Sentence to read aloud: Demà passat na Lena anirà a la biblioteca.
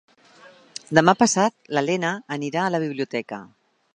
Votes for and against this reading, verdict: 1, 2, rejected